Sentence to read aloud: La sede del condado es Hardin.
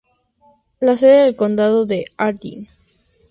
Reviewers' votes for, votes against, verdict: 0, 2, rejected